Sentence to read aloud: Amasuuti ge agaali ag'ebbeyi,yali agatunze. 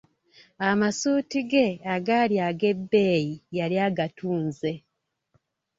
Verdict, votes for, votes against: accepted, 2, 0